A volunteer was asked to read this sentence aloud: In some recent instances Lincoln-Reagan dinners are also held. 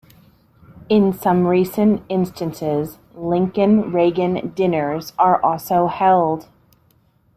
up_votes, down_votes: 2, 0